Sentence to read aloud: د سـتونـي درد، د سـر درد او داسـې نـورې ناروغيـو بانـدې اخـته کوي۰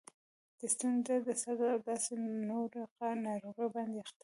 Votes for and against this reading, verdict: 0, 2, rejected